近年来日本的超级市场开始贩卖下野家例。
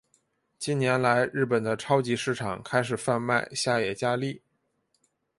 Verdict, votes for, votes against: accepted, 6, 0